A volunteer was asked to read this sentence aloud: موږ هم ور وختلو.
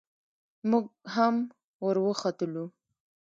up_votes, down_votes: 0, 2